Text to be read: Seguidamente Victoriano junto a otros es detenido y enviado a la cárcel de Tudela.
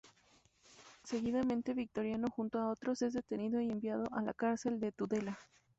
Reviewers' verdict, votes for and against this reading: accepted, 2, 0